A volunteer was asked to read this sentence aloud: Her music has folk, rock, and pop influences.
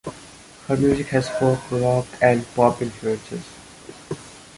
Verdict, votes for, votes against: accepted, 2, 0